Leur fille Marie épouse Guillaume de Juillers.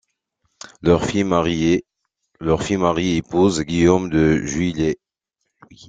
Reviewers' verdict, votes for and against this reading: rejected, 0, 2